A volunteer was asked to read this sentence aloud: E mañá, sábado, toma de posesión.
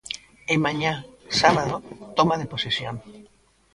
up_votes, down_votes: 0, 2